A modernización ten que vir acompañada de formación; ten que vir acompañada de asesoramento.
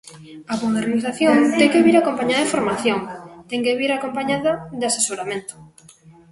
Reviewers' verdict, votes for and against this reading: accepted, 2, 1